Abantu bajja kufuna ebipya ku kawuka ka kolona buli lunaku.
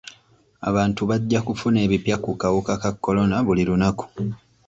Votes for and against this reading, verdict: 2, 0, accepted